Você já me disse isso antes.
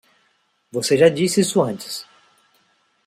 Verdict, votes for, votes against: rejected, 1, 2